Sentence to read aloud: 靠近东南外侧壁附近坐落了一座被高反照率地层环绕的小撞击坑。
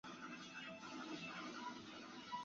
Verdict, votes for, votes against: rejected, 0, 2